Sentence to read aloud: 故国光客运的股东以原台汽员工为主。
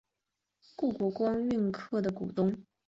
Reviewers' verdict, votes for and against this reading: rejected, 0, 3